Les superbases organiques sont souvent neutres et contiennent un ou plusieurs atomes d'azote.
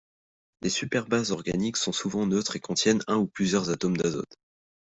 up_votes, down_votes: 2, 0